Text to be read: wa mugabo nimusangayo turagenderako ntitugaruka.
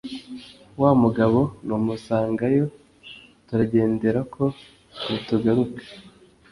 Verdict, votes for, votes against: rejected, 1, 2